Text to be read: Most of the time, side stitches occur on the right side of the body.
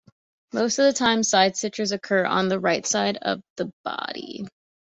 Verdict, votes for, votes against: accepted, 2, 0